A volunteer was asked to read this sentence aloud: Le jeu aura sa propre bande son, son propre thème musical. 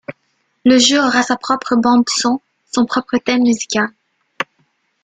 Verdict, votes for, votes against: rejected, 0, 2